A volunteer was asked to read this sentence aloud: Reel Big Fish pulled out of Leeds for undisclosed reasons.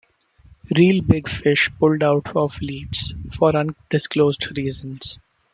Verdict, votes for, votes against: accepted, 3, 0